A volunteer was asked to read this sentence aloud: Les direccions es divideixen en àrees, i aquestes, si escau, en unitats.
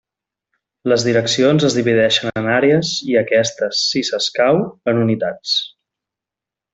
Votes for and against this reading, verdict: 0, 2, rejected